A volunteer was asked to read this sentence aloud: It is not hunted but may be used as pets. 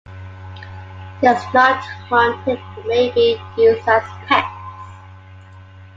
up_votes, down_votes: 2, 0